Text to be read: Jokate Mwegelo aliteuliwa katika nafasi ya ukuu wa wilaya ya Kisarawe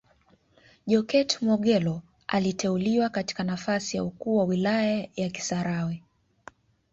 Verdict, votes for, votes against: rejected, 2, 3